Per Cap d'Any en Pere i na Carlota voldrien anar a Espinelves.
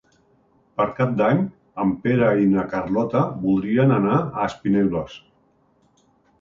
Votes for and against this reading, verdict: 2, 0, accepted